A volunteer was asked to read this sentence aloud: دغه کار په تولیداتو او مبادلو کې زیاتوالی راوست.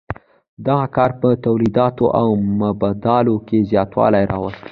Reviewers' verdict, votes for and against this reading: rejected, 1, 2